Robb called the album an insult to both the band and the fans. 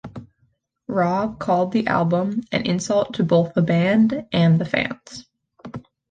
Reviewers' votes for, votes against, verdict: 2, 0, accepted